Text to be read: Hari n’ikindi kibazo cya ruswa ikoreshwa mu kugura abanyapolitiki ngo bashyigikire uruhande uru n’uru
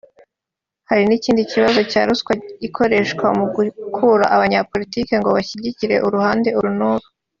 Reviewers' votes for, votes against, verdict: 0, 3, rejected